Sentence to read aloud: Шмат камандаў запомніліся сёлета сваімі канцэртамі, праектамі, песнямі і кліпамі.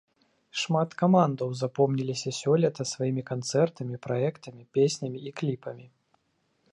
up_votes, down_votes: 2, 0